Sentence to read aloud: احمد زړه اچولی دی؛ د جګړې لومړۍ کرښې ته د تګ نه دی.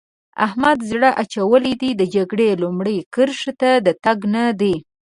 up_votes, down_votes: 2, 0